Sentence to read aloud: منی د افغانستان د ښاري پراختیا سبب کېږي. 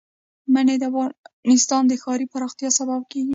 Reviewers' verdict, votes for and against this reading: rejected, 1, 2